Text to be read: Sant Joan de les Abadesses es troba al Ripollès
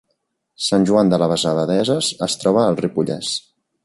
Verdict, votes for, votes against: rejected, 0, 2